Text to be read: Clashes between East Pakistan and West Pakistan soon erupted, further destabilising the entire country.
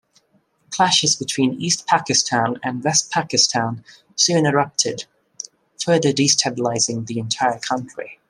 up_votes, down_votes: 2, 0